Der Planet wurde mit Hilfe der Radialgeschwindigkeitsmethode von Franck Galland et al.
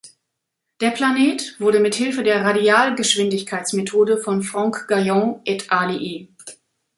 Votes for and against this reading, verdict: 1, 2, rejected